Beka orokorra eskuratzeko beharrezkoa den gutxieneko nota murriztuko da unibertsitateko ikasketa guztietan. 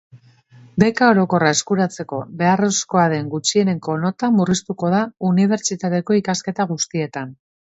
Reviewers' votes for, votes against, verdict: 2, 0, accepted